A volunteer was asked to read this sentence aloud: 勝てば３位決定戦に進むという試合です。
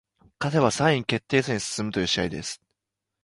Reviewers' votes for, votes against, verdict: 0, 2, rejected